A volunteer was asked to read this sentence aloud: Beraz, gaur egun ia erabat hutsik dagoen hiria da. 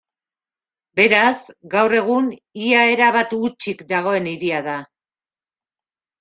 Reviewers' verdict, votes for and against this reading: accepted, 3, 1